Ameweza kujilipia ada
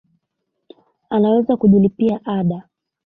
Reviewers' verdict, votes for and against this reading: accepted, 2, 0